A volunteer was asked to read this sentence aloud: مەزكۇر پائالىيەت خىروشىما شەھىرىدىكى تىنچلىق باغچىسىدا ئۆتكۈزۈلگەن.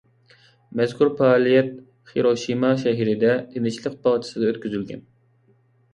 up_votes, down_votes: 0, 2